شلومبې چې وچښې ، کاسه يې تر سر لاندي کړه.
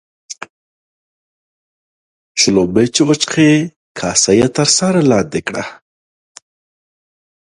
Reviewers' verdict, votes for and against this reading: accepted, 2, 0